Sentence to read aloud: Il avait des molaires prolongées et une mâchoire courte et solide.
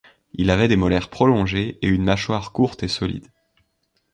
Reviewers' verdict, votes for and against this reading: rejected, 1, 2